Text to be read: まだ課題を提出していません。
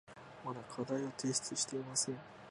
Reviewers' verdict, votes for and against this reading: accepted, 3, 0